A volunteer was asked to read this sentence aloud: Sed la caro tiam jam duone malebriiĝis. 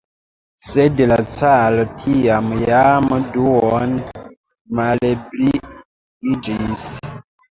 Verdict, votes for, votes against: rejected, 1, 2